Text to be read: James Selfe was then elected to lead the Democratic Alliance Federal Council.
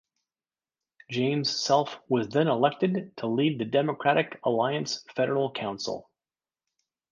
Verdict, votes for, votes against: accepted, 3, 0